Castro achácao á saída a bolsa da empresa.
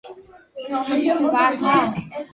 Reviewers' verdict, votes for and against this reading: rejected, 0, 2